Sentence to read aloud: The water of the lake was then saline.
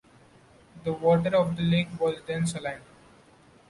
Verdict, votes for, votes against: accepted, 2, 1